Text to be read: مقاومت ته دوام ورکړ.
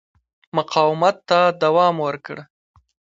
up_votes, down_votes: 1, 2